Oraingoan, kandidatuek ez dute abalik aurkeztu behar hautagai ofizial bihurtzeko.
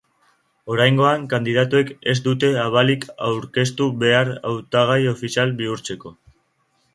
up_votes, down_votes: 2, 0